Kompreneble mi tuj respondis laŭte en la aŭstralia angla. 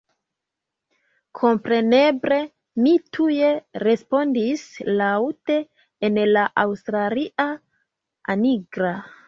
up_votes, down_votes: 0, 2